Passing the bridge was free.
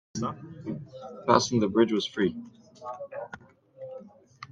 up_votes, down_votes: 1, 2